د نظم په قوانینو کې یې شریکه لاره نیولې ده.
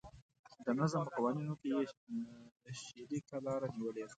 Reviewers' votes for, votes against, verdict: 0, 2, rejected